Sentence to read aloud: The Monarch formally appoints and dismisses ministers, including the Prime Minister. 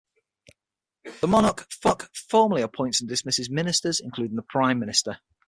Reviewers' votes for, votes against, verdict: 0, 6, rejected